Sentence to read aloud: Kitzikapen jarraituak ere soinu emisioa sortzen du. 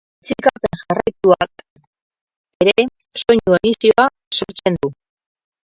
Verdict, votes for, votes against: rejected, 2, 8